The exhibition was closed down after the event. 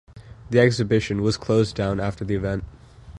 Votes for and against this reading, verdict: 2, 0, accepted